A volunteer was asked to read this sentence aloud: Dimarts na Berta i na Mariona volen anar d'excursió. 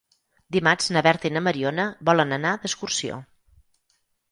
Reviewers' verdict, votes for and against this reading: accepted, 6, 0